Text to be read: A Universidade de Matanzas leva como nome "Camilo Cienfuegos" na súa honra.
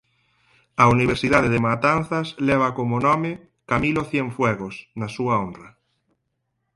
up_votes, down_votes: 4, 0